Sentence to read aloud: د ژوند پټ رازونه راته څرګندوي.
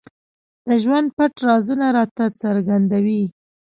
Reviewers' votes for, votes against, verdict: 2, 0, accepted